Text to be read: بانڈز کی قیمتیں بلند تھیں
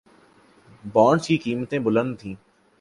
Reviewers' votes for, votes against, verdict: 2, 0, accepted